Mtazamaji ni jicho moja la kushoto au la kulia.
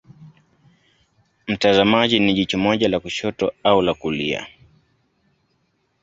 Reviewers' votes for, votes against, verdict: 2, 0, accepted